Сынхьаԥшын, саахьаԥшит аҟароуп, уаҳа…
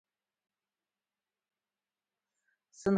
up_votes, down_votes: 0, 2